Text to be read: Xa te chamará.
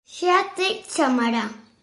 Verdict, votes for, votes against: accepted, 2, 0